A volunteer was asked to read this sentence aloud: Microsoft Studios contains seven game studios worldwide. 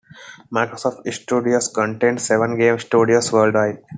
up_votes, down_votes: 2, 0